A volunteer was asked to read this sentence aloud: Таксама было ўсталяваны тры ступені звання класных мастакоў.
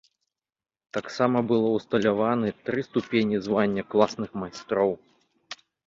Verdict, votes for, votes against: rejected, 1, 2